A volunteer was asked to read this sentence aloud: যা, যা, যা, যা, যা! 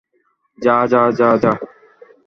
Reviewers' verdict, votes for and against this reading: rejected, 0, 2